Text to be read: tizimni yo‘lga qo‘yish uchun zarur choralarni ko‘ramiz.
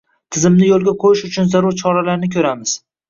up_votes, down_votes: 0, 2